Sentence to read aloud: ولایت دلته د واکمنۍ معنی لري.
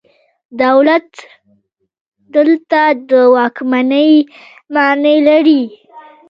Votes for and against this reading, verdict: 2, 0, accepted